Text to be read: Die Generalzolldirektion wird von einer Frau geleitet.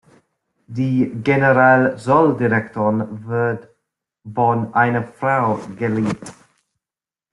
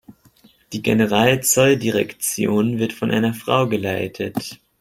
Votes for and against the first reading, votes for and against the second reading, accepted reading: 0, 2, 2, 0, second